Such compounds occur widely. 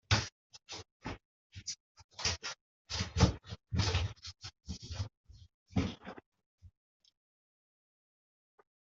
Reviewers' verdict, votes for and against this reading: rejected, 0, 2